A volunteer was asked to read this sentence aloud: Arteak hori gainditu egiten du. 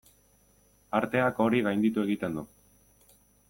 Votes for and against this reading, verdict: 2, 0, accepted